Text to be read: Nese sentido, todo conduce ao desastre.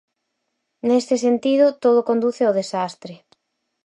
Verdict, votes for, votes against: rejected, 2, 4